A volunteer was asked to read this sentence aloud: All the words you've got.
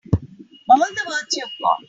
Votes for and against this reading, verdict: 3, 1, accepted